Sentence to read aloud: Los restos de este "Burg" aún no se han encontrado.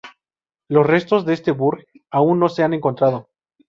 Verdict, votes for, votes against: accepted, 2, 0